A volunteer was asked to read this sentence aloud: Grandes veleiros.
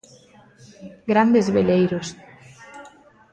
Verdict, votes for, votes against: accepted, 2, 0